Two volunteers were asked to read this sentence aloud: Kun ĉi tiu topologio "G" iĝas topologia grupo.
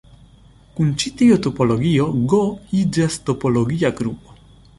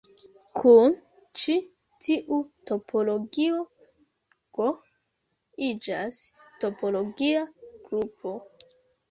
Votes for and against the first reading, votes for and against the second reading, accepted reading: 2, 0, 1, 2, first